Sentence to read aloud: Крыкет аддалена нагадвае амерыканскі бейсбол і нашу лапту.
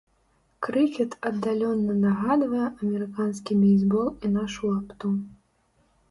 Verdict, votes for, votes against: rejected, 0, 2